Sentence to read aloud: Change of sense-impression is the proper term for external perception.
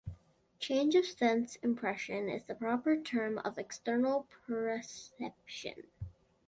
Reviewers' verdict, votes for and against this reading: rejected, 1, 2